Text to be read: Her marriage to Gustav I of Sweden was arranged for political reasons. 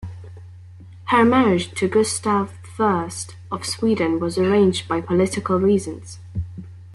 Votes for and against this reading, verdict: 0, 2, rejected